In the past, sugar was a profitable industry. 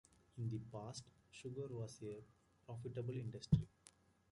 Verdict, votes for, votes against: accepted, 2, 1